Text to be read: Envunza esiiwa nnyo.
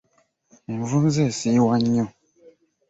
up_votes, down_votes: 2, 0